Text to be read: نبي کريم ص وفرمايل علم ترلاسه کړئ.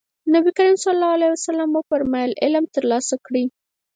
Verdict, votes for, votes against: rejected, 0, 4